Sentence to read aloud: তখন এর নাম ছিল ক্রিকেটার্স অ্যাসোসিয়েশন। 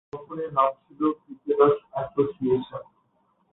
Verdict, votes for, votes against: rejected, 1, 8